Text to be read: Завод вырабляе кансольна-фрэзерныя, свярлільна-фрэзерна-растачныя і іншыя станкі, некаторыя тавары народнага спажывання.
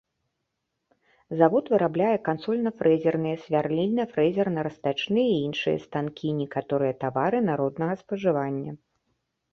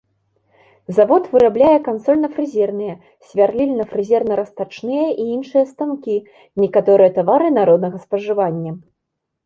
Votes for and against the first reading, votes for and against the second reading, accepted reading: 2, 0, 0, 2, first